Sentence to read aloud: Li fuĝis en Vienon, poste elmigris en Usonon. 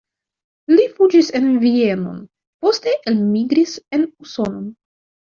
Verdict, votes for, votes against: accepted, 2, 0